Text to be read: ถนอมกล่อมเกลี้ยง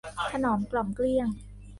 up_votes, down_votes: 1, 2